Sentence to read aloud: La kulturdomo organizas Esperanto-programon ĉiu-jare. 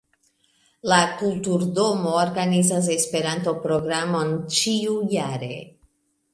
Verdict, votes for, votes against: rejected, 0, 2